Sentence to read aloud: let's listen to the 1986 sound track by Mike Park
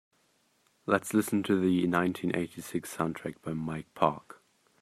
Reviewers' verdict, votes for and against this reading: rejected, 0, 2